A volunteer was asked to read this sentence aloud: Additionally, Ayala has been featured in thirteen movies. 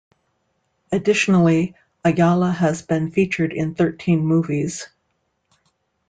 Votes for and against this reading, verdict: 2, 0, accepted